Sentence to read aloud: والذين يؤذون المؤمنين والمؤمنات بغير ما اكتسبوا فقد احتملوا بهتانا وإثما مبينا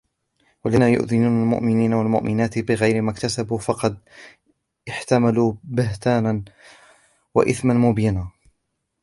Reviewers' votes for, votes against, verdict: 0, 2, rejected